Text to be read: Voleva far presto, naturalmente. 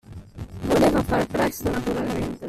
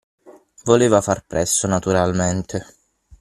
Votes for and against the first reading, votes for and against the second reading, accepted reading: 0, 2, 6, 0, second